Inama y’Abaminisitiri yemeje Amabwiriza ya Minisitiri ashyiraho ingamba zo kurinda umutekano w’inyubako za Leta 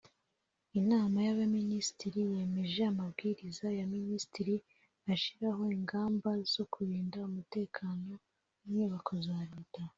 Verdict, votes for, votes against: accepted, 3, 0